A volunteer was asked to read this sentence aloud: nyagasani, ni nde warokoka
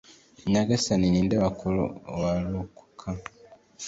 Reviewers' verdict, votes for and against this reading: rejected, 1, 2